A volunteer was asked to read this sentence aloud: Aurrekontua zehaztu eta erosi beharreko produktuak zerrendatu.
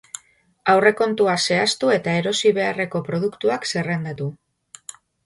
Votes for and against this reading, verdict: 2, 0, accepted